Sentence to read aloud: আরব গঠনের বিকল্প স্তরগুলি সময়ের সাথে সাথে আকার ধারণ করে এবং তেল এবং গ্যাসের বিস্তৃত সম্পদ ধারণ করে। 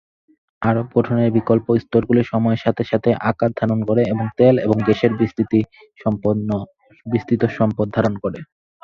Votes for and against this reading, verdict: 0, 4, rejected